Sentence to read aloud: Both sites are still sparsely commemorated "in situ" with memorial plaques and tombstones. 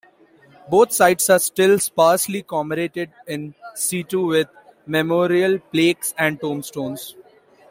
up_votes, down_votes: 2, 1